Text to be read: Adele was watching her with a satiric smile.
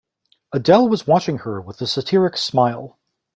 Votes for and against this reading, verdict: 2, 0, accepted